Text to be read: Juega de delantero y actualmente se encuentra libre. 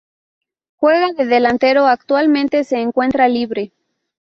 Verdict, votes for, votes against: accepted, 2, 0